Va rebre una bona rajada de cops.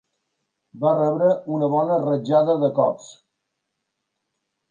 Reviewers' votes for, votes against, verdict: 2, 1, accepted